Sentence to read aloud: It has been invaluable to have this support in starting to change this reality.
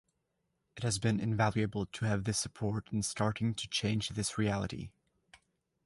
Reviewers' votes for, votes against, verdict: 2, 0, accepted